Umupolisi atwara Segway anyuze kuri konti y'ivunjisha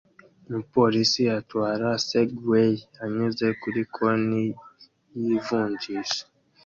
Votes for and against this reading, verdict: 2, 0, accepted